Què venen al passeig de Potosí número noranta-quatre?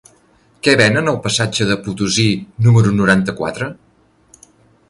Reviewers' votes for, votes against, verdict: 0, 2, rejected